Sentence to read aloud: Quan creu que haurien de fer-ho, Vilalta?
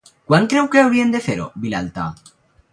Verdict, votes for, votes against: rejected, 2, 2